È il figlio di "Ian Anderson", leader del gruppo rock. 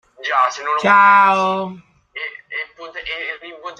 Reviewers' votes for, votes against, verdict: 0, 2, rejected